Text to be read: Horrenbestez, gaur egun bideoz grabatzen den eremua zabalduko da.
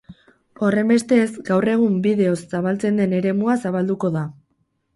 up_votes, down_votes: 4, 4